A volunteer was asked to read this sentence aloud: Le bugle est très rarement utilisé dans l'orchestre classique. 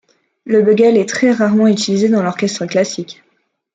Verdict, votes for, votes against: rejected, 1, 2